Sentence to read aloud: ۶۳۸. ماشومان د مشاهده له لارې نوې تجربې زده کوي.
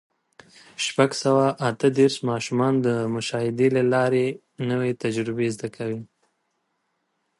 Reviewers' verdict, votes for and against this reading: rejected, 0, 2